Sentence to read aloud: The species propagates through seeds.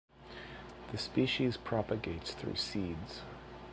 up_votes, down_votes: 2, 0